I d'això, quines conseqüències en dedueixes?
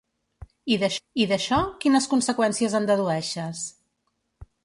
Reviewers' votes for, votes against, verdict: 1, 2, rejected